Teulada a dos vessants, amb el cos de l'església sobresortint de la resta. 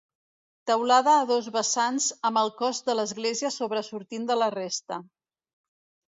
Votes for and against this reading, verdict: 2, 0, accepted